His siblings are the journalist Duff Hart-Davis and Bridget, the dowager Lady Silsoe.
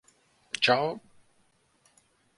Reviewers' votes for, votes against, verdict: 0, 2, rejected